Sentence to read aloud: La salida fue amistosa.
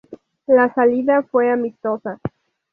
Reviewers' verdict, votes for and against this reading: accepted, 2, 0